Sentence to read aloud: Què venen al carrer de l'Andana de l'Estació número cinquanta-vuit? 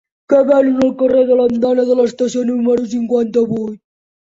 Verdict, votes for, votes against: rejected, 0, 2